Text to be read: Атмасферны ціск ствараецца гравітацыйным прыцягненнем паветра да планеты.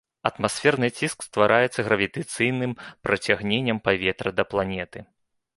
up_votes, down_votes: 2, 3